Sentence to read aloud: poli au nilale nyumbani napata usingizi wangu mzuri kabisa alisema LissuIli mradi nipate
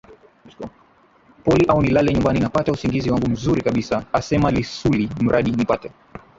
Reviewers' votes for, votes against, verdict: 1, 2, rejected